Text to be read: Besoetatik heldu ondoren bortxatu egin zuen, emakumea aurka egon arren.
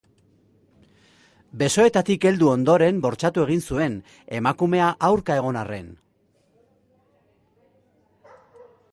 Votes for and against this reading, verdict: 2, 0, accepted